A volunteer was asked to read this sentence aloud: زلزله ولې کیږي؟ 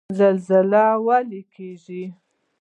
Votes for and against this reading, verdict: 1, 2, rejected